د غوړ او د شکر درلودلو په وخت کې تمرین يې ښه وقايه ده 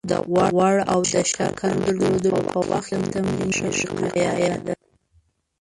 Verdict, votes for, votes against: rejected, 0, 2